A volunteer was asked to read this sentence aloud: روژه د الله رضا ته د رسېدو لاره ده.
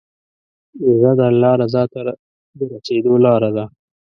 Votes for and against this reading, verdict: 2, 0, accepted